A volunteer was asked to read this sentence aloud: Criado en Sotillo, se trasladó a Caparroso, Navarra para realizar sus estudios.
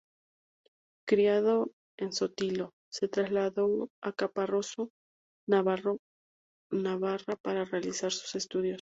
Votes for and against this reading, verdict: 0, 2, rejected